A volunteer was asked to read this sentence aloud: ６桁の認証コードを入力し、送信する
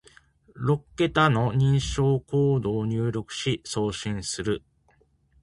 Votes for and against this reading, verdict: 0, 2, rejected